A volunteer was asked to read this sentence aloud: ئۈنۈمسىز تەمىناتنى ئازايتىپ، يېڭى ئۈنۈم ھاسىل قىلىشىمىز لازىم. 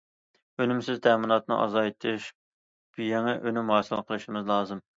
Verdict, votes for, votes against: rejected, 1, 2